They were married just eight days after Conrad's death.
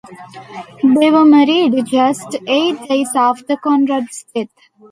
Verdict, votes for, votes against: rejected, 1, 2